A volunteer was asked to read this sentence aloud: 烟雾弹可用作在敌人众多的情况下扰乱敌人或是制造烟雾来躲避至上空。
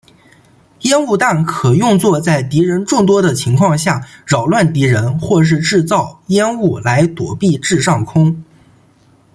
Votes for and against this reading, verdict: 2, 0, accepted